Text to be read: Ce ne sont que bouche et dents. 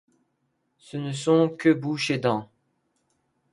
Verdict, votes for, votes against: accepted, 2, 0